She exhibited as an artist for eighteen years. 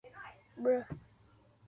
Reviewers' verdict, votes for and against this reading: rejected, 0, 2